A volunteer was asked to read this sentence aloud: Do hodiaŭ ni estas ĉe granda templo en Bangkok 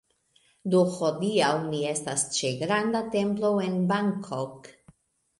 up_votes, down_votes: 2, 0